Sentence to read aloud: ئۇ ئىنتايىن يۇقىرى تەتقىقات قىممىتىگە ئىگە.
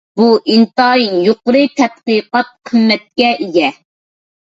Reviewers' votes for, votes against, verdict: 0, 2, rejected